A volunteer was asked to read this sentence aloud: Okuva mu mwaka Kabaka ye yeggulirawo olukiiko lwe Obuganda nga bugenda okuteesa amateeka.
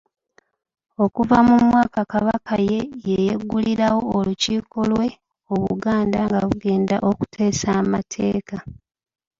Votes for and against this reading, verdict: 2, 1, accepted